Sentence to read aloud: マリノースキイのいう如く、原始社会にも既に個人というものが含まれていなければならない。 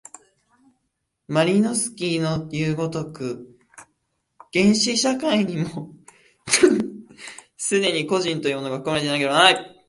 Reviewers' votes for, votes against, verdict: 2, 1, accepted